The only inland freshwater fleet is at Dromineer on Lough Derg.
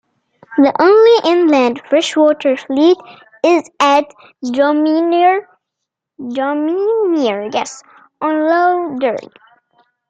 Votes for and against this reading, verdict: 1, 3, rejected